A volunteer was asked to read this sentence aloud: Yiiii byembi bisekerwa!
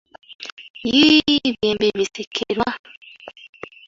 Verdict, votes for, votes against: accepted, 2, 1